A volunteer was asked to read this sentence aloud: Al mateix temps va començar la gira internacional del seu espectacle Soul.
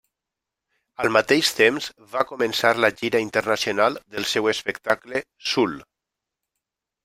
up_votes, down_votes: 1, 2